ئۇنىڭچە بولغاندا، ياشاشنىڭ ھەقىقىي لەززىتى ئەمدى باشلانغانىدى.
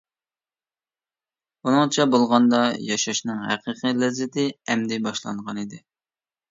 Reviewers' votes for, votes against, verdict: 2, 0, accepted